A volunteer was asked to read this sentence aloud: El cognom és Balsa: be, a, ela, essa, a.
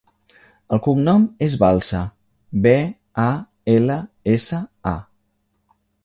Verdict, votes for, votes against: accepted, 3, 0